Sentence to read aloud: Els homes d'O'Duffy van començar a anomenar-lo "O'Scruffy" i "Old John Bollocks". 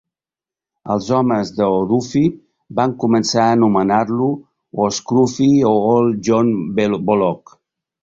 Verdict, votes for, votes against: rejected, 0, 2